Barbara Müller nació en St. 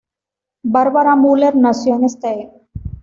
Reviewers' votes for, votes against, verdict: 1, 2, rejected